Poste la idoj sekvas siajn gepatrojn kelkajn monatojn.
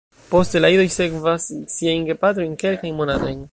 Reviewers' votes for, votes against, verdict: 0, 2, rejected